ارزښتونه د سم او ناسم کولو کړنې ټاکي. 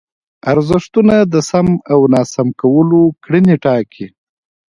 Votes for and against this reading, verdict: 2, 1, accepted